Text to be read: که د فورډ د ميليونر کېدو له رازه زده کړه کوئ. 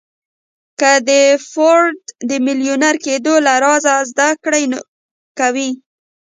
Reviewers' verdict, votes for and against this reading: rejected, 1, 2